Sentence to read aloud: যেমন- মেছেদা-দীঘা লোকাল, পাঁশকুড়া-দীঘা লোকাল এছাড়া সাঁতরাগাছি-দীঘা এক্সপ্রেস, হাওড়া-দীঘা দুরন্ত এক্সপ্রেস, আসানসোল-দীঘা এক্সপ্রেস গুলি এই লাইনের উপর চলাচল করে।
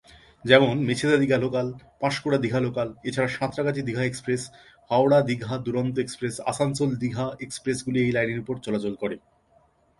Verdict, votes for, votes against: accepted, 2, 0